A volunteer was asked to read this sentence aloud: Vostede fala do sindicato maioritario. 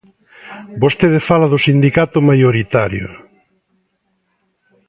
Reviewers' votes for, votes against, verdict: 2, 0, accepted